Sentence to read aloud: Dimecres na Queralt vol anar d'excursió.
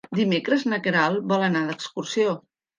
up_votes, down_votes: 3, 0